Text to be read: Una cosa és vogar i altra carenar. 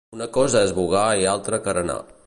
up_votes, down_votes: 2, 0